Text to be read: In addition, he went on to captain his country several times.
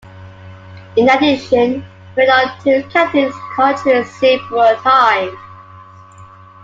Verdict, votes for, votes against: rejected, 0, 2